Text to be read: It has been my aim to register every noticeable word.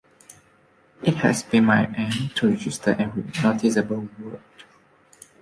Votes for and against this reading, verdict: 2, 0, accepted